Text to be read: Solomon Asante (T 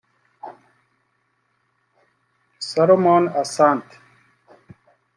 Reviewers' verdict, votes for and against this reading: rejected, 1, 2